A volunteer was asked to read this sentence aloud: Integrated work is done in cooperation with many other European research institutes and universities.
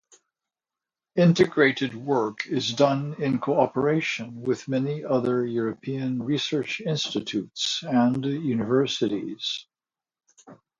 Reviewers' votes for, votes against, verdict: 0, 2, rejected